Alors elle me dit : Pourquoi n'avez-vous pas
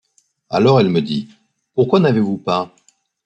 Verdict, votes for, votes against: accepted, 2, 0